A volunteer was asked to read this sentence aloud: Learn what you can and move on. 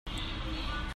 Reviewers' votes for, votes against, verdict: 0, 2, rejected